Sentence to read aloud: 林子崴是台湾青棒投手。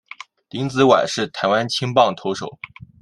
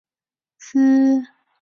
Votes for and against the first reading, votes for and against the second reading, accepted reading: 2, 0, 0, 4, first